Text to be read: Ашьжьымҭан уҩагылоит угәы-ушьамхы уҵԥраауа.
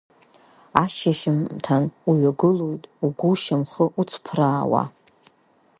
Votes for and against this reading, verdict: 4, 5, rejected